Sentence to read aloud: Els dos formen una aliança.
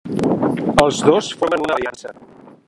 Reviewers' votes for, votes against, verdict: 0, 2, rejected